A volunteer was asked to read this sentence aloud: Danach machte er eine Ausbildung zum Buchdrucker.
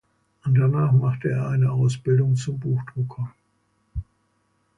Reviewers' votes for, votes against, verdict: 1, 2, rejected